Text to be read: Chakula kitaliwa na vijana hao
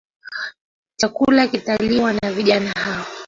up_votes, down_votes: 0, 2